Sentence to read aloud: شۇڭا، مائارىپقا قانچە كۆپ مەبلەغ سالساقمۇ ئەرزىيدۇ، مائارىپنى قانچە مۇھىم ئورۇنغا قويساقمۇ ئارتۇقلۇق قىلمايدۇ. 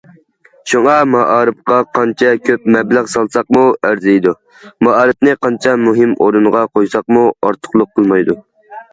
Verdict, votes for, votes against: accepted, 2, 0